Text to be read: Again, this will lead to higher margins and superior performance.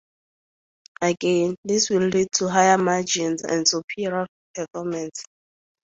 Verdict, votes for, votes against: accepted, 2, 0